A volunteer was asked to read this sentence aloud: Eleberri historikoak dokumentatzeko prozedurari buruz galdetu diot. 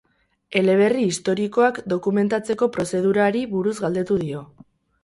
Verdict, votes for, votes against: rejected, 0, 4